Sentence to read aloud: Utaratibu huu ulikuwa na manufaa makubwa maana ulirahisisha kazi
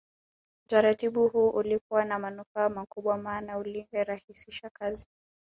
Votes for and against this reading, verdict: 3, 0, accepted